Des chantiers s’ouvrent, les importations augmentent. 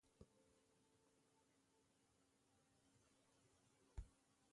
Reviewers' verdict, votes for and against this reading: rejected, 0, 2